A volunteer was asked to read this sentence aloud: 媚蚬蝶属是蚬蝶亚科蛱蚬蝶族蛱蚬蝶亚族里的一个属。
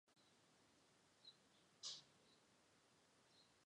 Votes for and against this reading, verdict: 0, 4, rejected